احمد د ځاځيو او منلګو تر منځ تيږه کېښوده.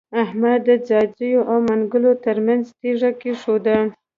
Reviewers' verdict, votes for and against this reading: rejected, 0, 3